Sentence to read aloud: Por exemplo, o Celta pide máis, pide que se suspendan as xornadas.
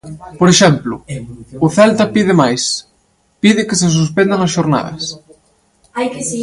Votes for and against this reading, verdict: 0, 2, rejected